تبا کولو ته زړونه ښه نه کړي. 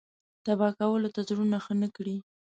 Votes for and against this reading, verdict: 2, 0, accepted